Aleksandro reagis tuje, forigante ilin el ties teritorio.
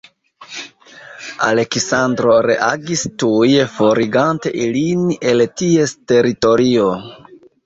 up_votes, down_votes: 0, 2